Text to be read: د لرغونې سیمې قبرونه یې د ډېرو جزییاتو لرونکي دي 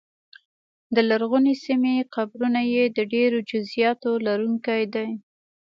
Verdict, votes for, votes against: accepted, 2, 0